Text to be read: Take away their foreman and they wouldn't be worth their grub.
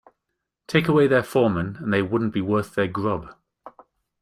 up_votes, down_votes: 1, 2